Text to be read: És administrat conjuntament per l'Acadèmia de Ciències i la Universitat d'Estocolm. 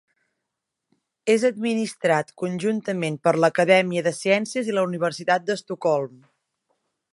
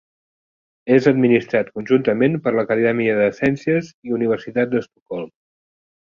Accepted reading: first